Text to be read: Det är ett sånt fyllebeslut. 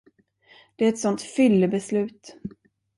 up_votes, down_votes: 2, 0